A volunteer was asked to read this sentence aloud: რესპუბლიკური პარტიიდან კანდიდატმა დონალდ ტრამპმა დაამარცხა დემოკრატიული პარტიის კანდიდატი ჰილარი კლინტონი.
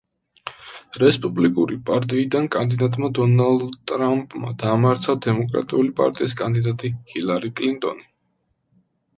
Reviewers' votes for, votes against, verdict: 2, 0, accepted